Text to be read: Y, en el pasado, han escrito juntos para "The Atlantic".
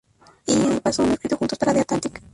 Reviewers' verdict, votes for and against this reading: rejected, 0, 2